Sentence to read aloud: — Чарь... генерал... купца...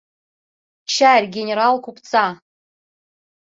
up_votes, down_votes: 2, 0